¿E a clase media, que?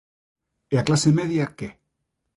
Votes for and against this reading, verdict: 2, 0, accepted